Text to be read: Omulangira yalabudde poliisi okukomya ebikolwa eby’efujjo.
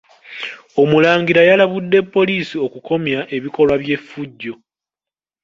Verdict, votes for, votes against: rejected, 1, 2